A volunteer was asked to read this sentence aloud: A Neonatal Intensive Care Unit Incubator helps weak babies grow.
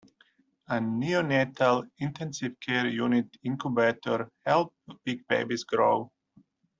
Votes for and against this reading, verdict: 0, 2, rejected